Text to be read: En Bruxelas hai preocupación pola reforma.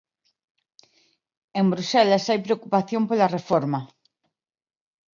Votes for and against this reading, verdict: 2, 1, accepted